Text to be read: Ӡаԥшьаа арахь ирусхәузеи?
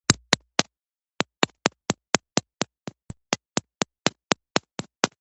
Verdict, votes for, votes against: rejected, 0, 2